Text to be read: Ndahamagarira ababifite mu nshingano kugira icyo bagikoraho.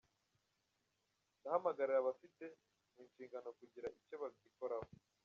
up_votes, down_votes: 1, 2